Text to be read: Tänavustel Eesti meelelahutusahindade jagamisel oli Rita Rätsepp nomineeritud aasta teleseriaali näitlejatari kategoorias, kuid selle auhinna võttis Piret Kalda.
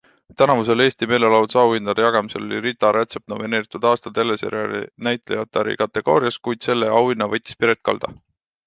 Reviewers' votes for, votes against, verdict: 2, 0, accepted